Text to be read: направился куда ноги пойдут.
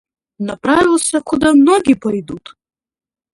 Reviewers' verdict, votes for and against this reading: rejected, 0, 2